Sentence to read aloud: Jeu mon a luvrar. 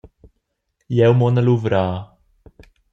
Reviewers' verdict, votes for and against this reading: accepted, 2, 0